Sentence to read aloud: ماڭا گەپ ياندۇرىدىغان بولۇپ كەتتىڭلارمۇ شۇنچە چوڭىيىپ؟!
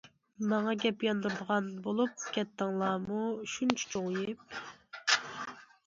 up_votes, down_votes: 2, 0